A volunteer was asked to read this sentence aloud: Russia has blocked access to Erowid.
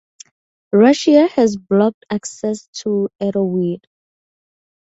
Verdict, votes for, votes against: accepted, 2, 0